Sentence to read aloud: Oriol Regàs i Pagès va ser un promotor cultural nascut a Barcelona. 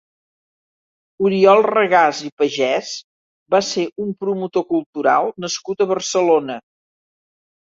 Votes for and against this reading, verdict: 3, 0, accepted